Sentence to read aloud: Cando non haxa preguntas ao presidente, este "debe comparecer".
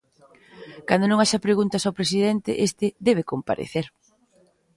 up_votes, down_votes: 2, 0